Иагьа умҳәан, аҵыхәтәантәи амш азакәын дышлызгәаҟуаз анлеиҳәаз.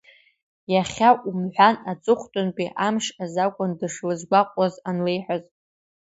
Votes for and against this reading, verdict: 0, 3, rejected